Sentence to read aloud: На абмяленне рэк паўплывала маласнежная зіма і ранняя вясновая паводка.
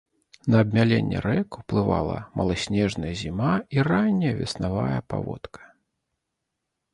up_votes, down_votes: 1, 2